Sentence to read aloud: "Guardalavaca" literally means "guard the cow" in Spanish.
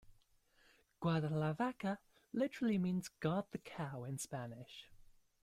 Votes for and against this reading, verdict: 2, 0, accepted